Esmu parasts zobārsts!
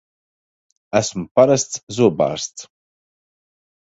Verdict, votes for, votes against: accepted, 2, 0